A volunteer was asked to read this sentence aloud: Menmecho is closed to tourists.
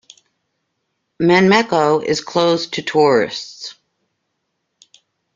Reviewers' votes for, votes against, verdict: 2, 0, accepted